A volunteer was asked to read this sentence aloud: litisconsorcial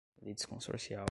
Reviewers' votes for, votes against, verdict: 0, 2, rejected